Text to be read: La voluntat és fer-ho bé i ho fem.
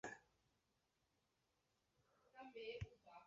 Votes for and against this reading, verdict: 0, 2, rejected